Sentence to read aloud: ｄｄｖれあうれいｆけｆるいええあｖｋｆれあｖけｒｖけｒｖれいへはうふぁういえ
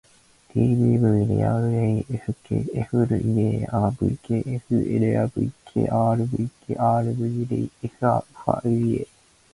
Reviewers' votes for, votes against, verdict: 0, 2, rejected